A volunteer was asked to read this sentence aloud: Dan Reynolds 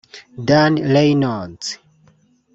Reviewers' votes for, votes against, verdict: 0, 2, rejected